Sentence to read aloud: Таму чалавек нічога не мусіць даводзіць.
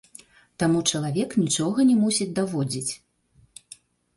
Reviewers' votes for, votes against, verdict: 1, 2, rejected